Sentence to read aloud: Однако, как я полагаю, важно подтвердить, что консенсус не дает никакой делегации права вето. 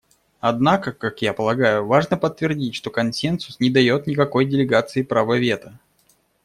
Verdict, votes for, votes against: rejected, 1, 2